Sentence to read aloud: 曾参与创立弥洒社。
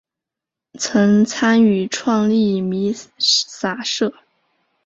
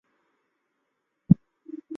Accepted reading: first